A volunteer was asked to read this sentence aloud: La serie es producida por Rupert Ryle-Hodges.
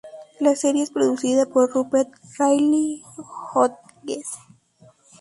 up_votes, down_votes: 0, 2